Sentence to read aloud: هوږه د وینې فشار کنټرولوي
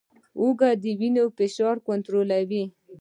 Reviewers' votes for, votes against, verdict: 2, 0, accepted